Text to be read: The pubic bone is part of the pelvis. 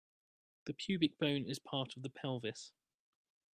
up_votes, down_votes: 0, 2